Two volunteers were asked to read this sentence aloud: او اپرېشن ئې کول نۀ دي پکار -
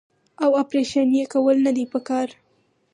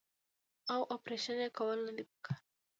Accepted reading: first